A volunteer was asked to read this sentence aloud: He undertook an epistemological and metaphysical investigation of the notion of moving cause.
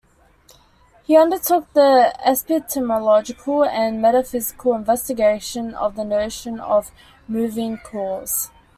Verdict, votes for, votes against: rejected, 0, 2